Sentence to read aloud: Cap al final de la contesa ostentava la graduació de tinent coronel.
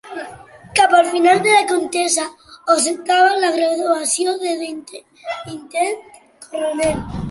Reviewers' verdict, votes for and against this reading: rejected, 0, 2